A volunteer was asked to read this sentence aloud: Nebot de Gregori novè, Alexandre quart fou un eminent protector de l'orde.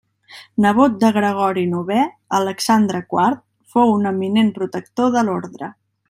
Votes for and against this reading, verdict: 0, 2, rejected